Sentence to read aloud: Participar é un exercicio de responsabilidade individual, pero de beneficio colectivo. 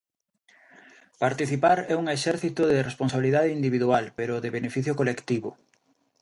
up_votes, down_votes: 0, 2